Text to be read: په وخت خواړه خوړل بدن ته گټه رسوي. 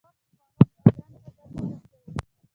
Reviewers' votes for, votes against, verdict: 1, 2, rejected